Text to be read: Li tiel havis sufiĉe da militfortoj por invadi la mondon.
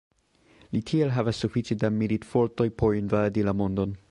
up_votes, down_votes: 3, 2